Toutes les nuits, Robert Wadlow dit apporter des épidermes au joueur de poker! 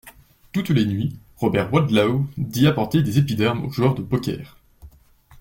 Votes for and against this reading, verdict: 2, 0, accepted